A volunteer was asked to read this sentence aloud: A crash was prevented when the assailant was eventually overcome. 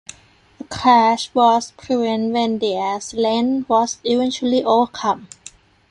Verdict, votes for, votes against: rejected, 0, 2